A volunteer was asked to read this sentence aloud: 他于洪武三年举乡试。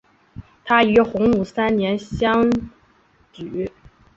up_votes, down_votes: 1, 2